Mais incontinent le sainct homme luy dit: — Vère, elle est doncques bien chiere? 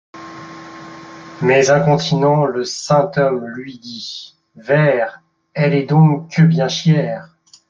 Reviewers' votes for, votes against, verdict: 1, 2, rejected